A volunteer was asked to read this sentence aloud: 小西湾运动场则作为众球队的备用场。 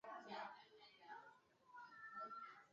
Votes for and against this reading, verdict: 1, 2, rejected